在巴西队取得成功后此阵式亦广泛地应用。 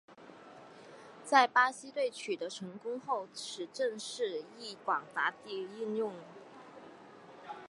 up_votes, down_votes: 0, 2